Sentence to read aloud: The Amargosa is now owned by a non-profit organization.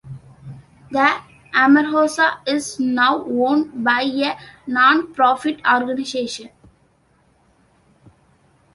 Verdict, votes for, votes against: accepted, 2, 1